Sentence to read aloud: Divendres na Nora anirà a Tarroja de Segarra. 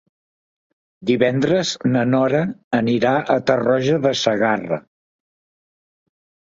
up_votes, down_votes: 3, 0